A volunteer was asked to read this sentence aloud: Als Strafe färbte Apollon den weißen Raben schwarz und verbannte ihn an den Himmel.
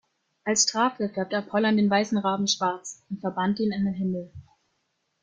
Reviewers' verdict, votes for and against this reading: rejected, 0, 2